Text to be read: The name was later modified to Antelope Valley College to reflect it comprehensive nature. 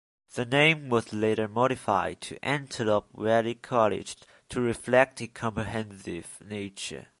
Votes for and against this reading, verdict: 2, 1, accepted